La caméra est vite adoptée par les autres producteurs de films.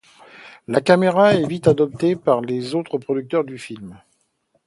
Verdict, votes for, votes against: rejected, 0, 2